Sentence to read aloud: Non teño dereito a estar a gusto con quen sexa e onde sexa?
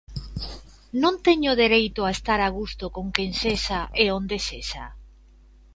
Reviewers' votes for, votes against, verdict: 2, 0, accepted